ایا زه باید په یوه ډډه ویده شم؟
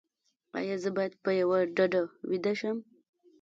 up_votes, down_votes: 1, 2